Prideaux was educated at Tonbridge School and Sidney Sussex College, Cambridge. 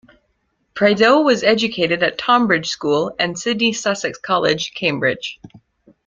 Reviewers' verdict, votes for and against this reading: accepted, 2, 0